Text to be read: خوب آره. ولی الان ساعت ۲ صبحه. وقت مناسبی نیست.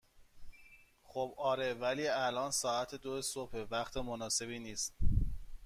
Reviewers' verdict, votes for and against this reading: rejected, 0, 2